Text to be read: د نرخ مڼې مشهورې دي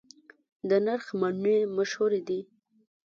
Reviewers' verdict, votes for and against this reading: rejected, 0, 2